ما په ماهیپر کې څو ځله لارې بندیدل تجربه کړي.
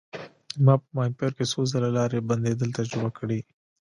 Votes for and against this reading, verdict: 3, 0, accepted